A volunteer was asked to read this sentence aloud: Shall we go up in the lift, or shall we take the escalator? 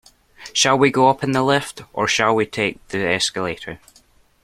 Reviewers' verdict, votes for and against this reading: accepted, 2, 1